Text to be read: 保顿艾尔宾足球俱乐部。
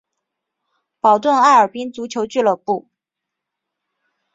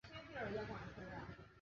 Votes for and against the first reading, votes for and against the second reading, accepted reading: 2, 0, 0, 3, first